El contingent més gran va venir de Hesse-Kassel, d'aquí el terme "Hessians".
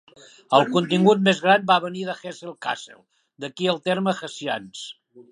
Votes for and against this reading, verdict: 0, 2, rejected